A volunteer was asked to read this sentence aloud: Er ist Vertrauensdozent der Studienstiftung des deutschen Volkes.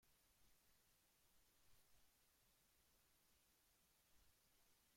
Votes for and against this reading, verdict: 0, 2, rejected